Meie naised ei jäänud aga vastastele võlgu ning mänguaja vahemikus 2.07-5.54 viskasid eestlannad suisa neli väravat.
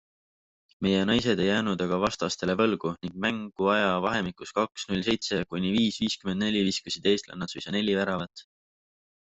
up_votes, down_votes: 0, 2